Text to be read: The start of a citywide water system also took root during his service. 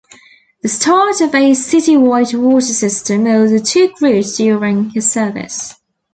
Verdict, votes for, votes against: rejected, 1, 2